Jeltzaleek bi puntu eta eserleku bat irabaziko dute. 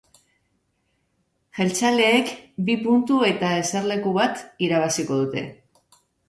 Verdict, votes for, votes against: accepted, 2, 0